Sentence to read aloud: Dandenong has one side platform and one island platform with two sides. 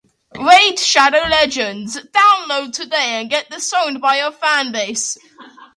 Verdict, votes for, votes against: rejected, 0, 2